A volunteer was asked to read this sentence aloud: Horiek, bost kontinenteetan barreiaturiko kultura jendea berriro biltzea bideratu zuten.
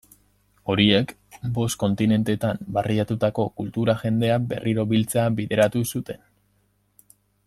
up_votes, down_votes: 0, 2